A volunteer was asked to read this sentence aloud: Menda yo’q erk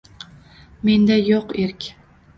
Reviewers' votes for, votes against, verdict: 2, 1, accepted